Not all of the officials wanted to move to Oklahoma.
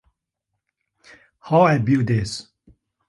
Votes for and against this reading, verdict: 0, 2, rejected